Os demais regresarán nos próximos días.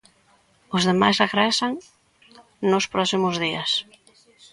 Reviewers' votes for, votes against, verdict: 0, 2, rejected